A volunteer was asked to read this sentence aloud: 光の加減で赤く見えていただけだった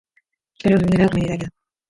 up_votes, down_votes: 0, 2